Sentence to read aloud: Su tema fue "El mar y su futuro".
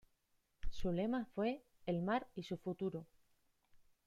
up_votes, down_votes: 0, 2